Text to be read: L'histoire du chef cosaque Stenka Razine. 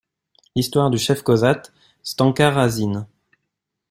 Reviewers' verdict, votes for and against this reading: accepted, 2, 0